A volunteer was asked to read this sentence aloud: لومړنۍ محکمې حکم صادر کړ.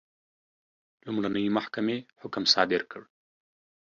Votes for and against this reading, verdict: 2, 0, accepted